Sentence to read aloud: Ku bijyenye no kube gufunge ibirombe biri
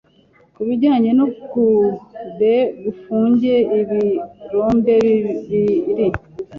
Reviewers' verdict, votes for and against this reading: rejected, 0, 2